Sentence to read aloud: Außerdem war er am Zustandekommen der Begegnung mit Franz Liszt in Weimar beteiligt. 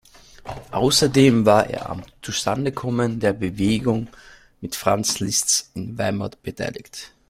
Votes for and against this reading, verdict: 0, 2, rejected